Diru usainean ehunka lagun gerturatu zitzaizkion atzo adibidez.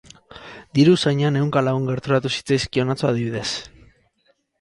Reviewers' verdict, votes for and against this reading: rejected, 2, 2